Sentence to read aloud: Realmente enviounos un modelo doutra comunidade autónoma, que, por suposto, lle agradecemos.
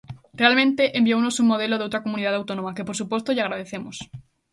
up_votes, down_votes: 2, 0